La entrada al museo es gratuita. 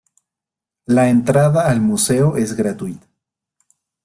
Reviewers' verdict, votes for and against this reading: rejected, 0, 2